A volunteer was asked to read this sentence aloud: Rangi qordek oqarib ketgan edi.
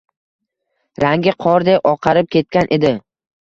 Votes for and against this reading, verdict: 2, 0, accepted